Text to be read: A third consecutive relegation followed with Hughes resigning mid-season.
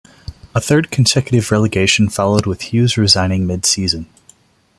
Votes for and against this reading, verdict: 1, 2, rejected